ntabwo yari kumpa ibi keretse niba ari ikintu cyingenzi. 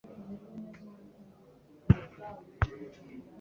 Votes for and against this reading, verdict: 0, 2, rejected